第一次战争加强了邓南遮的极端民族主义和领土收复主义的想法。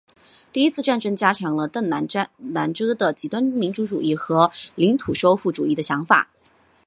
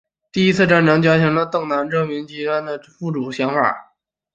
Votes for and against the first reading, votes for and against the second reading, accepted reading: 1, 2, 3, 2, second